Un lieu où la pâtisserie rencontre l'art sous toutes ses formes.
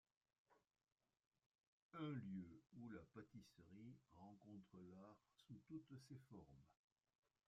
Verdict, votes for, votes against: rejected, 1, 2